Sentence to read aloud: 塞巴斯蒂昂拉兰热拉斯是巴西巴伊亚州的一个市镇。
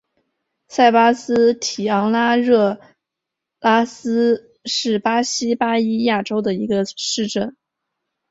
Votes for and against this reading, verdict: 2, 1, accepted